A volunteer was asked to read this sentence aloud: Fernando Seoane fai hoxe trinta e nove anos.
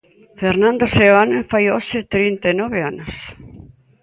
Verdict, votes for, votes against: accepted, 2, 1